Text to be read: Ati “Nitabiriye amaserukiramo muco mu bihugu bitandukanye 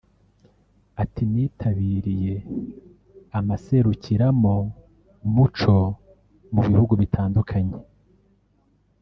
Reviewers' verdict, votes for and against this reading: rejected, 1, 2